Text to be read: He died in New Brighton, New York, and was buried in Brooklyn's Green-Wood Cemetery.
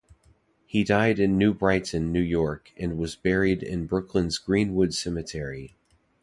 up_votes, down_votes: 2, 0